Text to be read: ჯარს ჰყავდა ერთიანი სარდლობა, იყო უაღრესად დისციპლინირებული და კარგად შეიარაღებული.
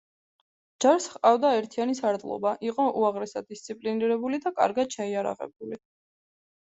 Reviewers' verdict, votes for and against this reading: accepted, 2, 0